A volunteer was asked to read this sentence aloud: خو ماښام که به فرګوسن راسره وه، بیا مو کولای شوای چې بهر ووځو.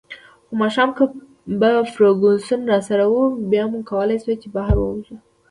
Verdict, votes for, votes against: accepted, 2, 1